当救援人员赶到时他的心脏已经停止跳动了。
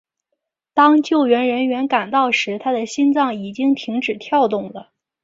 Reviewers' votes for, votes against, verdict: 2, 0, accepted